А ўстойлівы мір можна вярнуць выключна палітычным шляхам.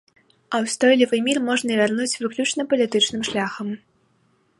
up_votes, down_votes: 2, 0